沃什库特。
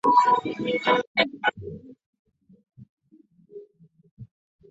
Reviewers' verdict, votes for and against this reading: rejected, 0, 2